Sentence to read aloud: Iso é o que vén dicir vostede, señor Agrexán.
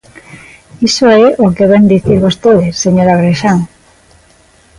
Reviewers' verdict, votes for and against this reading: accepted, 2, 1